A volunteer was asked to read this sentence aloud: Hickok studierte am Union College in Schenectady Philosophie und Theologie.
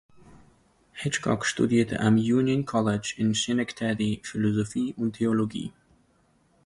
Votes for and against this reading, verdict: 0, 2, rejected